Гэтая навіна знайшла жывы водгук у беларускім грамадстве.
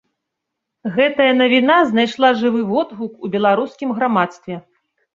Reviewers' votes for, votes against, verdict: 2, 0, accepted